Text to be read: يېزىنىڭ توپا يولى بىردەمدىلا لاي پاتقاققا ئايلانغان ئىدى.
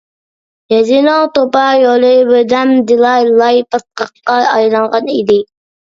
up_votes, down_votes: 2, 0